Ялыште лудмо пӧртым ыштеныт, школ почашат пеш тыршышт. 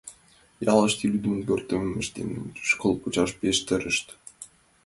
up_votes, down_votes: 1, 4